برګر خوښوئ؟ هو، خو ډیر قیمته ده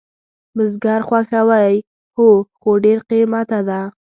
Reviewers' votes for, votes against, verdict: 0, 2, rejected